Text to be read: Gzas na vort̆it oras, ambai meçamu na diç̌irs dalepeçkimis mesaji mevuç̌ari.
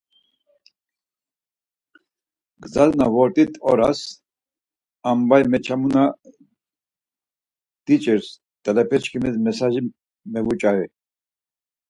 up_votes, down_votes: 4, 0